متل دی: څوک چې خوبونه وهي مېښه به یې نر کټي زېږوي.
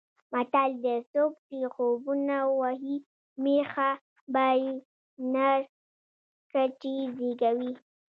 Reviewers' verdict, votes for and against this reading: rejected, 1, 2